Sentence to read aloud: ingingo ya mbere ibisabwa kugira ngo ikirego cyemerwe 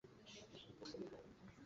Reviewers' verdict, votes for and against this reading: rejected, 0, 2